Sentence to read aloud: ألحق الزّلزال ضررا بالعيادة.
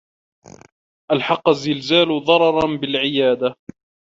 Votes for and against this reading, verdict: 1, 2, rejected